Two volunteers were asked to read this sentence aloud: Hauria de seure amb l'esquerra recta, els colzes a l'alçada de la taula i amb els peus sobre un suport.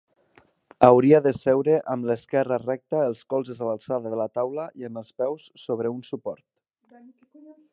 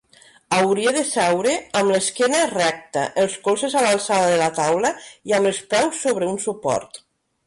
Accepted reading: first